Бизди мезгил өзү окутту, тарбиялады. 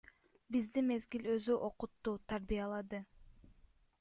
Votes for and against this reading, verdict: 2, 0, accepted